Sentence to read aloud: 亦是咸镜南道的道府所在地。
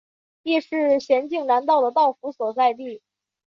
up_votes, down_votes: 2, 0